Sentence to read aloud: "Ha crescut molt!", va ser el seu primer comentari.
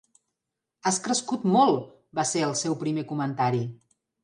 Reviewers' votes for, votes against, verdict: 1, 3, rejected